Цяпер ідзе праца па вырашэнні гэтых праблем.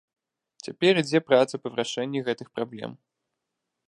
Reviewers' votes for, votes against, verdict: 1, 2, rejected